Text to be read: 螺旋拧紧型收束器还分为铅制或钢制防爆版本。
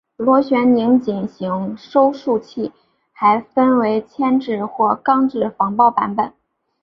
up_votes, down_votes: 3, 1